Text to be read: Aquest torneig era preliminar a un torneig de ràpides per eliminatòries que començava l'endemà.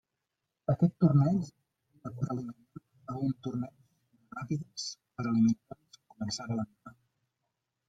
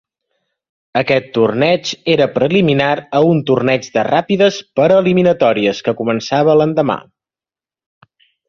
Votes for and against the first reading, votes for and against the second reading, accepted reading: 0, 2, 2, 0, second